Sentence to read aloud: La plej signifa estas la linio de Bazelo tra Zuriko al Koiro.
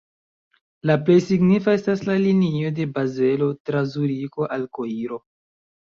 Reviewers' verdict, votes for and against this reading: accepted, 2, 1